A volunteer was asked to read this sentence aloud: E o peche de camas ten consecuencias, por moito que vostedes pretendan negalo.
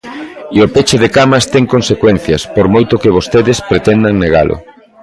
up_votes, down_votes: 0, 2